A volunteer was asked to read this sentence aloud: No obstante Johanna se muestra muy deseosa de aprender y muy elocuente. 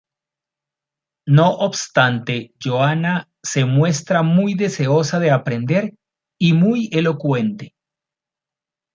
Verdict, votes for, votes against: accepted, 2, 0